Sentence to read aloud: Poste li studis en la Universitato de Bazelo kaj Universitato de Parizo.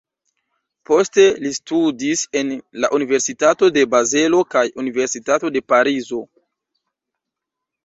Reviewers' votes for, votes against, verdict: 2, 0, accepted